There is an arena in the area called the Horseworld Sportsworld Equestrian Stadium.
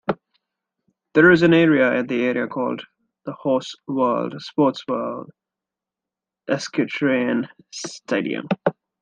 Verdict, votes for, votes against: rejected, 0, 2